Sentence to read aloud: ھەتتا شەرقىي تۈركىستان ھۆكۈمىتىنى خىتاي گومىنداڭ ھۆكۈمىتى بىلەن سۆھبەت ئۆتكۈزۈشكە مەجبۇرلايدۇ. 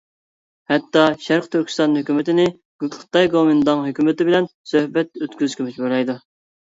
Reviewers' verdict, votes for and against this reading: rejected, 0, 2